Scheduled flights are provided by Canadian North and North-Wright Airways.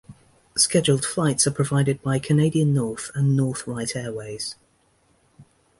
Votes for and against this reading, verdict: 2, 0, accepted